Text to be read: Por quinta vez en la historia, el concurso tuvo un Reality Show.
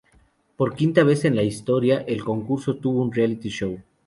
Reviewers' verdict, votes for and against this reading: accepted, 2, 0